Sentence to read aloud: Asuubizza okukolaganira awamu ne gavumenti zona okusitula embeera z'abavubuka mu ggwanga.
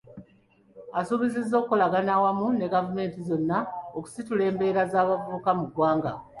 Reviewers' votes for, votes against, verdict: 1, 2, rejected